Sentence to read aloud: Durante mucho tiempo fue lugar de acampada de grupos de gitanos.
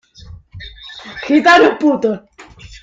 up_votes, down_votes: 0, 2